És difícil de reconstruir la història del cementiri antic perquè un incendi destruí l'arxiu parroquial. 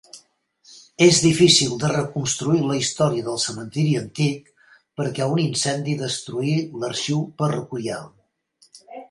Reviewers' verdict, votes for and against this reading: rejected, 1, 2